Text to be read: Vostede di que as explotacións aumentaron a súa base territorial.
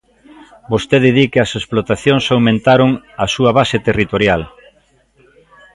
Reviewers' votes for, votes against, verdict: 0, 2, rejected